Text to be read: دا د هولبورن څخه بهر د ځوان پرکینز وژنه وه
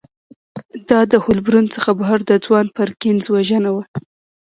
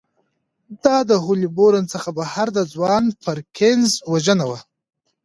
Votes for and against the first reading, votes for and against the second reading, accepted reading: 1, 2, 2, 1, second